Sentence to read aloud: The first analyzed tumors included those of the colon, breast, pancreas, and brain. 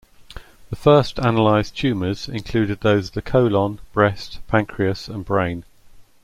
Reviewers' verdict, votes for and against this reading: rejected, 1, 2